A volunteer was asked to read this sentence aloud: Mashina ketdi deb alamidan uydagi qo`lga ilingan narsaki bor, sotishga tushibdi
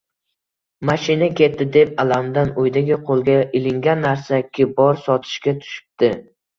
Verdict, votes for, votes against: accepted, 2, 1